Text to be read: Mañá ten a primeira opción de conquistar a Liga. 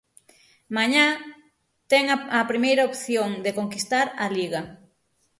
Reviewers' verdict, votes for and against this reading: rejected, 0, 6